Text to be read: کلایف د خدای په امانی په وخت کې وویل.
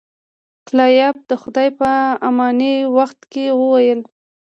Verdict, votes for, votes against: accepted, 2, 0